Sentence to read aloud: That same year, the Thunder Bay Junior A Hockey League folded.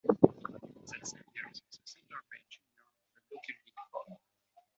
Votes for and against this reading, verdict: 0, 2, rejected